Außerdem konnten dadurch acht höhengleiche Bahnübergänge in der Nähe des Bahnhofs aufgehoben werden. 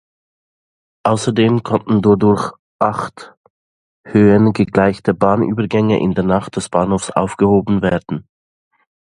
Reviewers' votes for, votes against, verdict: 0, 2, rejected